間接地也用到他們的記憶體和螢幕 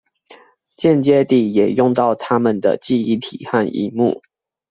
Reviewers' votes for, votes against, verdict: 2, 0, accepted